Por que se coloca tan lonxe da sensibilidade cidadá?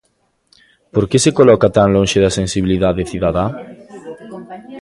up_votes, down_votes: 2, 0